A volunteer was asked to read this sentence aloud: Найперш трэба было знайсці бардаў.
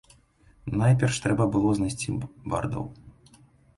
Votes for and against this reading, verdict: 0, 2, rejected